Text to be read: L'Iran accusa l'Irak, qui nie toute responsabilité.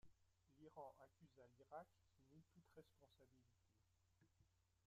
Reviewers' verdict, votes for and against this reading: rejected, 0, 2